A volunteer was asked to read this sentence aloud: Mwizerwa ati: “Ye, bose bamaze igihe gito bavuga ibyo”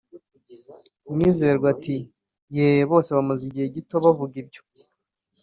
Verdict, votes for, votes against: accepted, 4, 0